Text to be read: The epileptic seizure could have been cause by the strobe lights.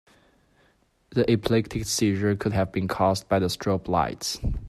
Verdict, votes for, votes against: accepted, 2, 0